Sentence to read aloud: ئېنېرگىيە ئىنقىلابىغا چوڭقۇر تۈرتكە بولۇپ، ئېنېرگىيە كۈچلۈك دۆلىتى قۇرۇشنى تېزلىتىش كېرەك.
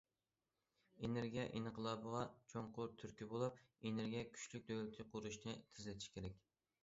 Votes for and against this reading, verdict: 2, 0, accepted